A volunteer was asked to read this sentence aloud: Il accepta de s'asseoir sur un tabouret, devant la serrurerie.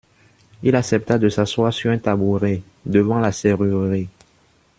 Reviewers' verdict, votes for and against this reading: rejected, 0, 2